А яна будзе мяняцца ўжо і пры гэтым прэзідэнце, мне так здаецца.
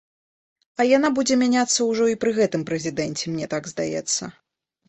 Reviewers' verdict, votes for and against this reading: accepted, 2, 0